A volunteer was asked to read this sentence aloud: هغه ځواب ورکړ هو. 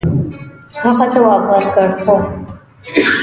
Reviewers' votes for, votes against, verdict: 1, 2, rejected